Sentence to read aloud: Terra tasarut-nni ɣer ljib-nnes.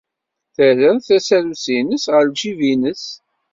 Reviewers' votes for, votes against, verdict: 0, 2, rejected